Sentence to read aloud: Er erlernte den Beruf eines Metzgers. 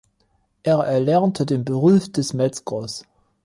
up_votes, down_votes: 0, 2